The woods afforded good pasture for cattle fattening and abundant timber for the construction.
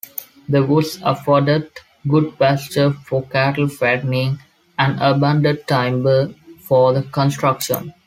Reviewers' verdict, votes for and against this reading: rejected, 1, 2